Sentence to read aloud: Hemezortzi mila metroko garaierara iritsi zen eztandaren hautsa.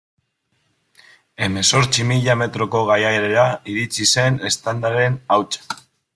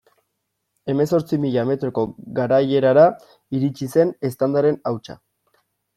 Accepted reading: second